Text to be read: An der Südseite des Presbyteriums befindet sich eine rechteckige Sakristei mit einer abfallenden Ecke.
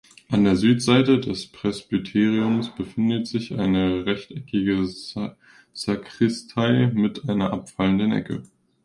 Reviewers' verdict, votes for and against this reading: rejected, 0, 2